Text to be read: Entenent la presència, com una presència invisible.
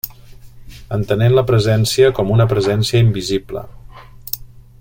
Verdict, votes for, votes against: accepted, 3, 0